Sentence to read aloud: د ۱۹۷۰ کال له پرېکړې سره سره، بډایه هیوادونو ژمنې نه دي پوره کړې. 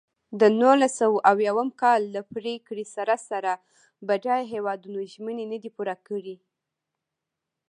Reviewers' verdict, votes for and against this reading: rejected, 0, 2